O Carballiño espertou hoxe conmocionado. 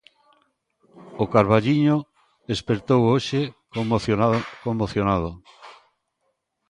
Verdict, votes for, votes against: rejected, 0, 2